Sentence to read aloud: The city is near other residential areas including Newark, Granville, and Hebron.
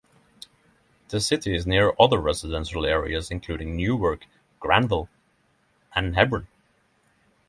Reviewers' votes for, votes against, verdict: 3, 0, accepted